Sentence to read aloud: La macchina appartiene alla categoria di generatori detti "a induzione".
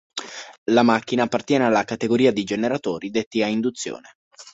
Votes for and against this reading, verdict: 2, 0, accepted